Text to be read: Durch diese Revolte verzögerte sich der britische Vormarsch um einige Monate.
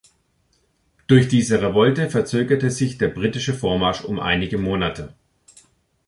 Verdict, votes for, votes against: accepted, 2, 0